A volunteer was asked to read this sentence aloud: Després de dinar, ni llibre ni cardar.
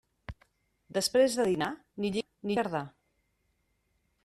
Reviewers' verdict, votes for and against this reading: rejected, 0, 2